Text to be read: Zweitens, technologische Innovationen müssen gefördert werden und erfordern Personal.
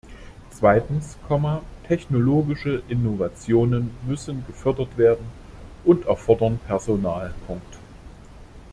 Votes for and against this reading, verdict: 0, 2, rejected